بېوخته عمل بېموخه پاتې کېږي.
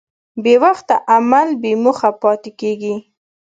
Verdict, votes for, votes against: accepted, 2, 0